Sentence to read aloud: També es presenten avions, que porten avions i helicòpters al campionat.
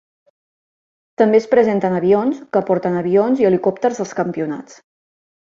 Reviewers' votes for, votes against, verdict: 0, 2, rejected